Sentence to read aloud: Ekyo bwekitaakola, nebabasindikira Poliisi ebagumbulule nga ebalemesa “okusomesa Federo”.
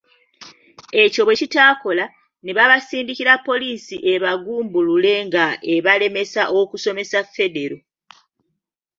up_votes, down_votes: 2, 0